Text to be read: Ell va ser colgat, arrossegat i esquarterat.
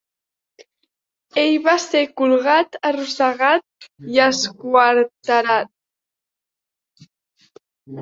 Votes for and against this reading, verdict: 2, 0, accepted